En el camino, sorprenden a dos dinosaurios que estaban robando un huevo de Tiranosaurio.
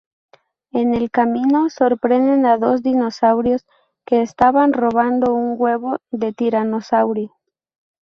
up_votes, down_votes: 2, 0